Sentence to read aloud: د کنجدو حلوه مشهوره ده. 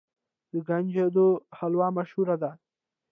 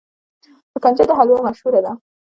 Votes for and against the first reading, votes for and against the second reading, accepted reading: 0, 2, 2, 0, second